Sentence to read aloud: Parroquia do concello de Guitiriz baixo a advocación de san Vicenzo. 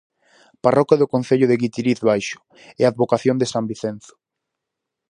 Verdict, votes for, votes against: rejected, 0, 4